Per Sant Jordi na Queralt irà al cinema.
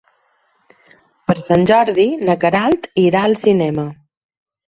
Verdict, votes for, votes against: accepted, 3, 0